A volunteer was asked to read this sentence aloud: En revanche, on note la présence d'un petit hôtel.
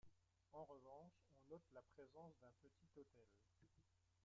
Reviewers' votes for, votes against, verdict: 1, 2, rejected